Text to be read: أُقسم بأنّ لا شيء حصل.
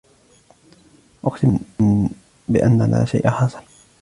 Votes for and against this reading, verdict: 1, 2, rejected